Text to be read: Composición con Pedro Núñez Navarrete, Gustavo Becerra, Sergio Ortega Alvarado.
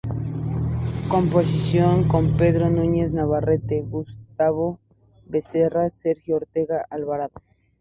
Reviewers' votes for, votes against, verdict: 2, 0, accepted